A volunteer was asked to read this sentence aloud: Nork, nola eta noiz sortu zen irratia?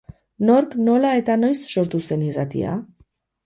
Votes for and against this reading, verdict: 0, 2, rejected